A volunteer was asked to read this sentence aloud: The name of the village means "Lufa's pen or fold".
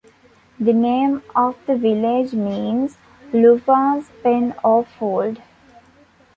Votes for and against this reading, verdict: 1, 2, rejected